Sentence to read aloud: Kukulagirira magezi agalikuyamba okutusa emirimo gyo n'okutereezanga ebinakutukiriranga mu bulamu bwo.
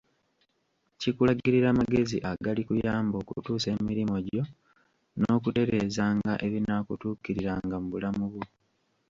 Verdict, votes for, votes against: rejected, 0, 2